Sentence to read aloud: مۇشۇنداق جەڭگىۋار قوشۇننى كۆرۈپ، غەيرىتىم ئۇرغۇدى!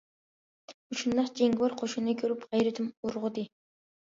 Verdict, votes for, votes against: accepted, 2, 0